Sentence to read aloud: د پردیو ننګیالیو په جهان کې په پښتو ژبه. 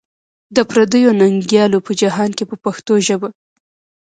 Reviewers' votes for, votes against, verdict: 2, 1, accepted